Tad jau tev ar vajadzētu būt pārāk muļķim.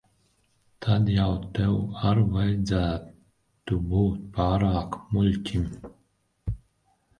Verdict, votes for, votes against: rejected, 2, 4